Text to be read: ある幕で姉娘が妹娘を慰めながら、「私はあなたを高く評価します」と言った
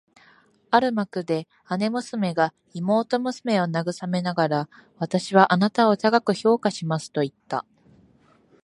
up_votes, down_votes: 4, 0